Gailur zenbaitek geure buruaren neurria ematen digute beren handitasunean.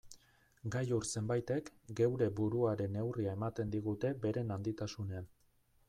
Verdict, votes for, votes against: accepted, 2, 0